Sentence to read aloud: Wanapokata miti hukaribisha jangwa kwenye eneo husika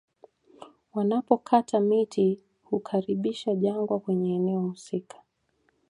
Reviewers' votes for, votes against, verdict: 2, 0, accepted